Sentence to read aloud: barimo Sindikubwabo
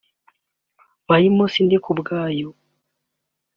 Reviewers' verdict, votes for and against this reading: rejected, 1, 2